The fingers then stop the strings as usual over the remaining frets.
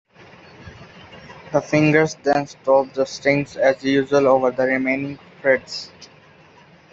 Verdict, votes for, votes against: accepted, 2, 0